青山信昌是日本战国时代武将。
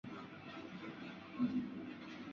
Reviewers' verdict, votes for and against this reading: rejected, 2, 3